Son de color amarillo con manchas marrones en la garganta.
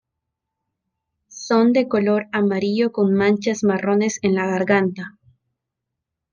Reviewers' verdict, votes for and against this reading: rejected, 1, 2